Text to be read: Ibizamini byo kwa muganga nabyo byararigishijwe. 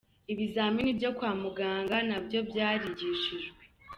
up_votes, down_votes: 1, 2